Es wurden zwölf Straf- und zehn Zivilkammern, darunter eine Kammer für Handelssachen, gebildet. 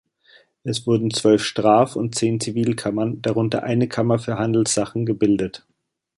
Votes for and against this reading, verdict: 2, 0, accepted